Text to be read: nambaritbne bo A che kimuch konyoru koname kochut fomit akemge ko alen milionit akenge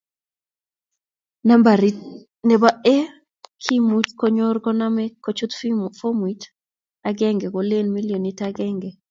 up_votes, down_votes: 0, 2